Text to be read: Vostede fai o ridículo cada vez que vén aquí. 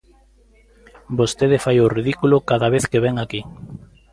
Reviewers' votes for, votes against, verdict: 2, 0, accepted